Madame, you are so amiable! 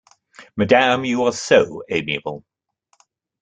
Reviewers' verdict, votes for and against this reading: accepted, 2, 0